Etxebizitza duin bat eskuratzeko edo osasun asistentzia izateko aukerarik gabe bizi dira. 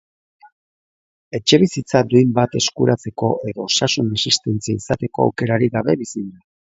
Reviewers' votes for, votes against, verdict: 2, 0, accepted